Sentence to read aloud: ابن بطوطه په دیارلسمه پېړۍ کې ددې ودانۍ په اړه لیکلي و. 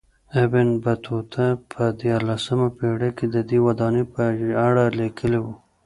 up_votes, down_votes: 2, 1